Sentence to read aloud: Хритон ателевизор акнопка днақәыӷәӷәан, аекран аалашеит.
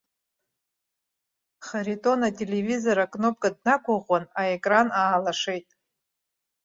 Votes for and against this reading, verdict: 0, 2, rejected